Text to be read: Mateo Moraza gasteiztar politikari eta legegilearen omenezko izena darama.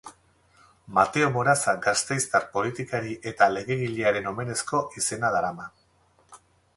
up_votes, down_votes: 2, 2